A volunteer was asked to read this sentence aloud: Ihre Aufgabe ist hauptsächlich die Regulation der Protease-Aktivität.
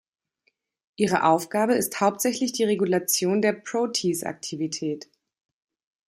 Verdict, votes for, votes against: rejected, 1, 2